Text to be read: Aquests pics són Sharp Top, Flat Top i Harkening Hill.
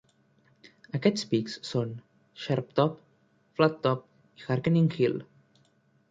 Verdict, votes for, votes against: rejected, 1, 2